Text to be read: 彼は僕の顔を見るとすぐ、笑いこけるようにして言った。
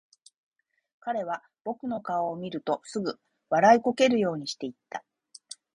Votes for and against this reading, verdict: 1, 2, rejected